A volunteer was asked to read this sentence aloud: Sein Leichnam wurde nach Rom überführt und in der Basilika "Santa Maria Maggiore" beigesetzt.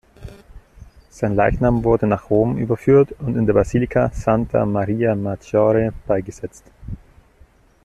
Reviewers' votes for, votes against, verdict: 2, 0, accepted